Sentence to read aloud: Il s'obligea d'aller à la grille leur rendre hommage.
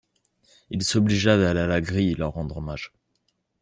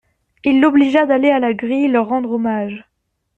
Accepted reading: first